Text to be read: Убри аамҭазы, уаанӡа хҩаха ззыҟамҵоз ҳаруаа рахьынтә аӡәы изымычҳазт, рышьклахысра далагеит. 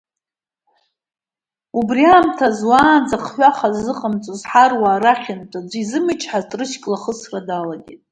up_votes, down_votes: 1, 2